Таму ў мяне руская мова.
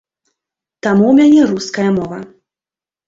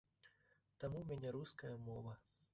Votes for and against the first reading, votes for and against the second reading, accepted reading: 2, 0, 1, 3, first